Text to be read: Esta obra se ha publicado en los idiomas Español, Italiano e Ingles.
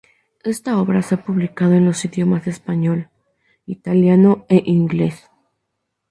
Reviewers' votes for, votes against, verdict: 2, 0, accepted